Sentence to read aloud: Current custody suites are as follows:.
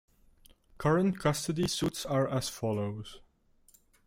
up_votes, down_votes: 0, 2